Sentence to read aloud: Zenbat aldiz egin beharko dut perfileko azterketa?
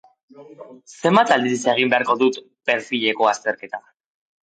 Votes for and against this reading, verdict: 2, 0, accepted